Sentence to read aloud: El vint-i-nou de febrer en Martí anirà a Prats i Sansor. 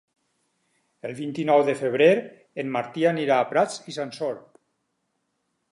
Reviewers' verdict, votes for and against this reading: accepted, 6, 0